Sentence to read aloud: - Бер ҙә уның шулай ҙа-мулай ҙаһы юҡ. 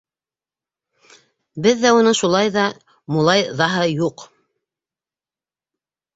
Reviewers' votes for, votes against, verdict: 1, 2, rejected